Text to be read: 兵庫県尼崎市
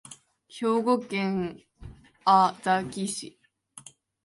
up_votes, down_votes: 0, 3